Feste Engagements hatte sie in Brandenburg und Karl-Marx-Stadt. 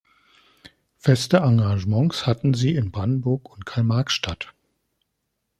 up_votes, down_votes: 1, 2